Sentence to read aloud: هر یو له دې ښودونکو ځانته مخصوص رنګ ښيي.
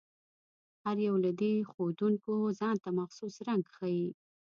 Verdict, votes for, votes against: accepted, 2, 0